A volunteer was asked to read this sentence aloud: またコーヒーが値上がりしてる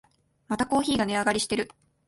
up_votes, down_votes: 2, 0